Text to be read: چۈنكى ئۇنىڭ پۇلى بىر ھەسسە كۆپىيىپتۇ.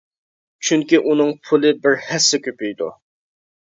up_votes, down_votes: 2, 1